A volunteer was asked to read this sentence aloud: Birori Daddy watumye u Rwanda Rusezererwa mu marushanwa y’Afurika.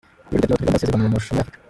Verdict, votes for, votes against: rejected, 0, 2